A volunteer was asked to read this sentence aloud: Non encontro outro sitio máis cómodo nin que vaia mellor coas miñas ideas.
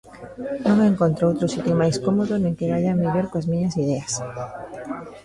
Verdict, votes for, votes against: rejected, 0, 2